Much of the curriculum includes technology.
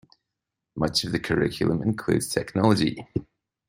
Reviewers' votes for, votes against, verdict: 2, 0, accepted